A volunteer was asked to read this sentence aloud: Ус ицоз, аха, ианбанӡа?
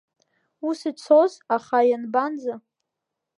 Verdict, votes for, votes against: accepted, 2, 0